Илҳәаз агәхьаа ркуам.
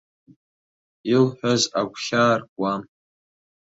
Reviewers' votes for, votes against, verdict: 3, 0, accepted